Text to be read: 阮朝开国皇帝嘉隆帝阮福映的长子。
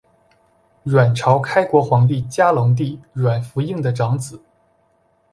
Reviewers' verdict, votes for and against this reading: accepted, 2, 0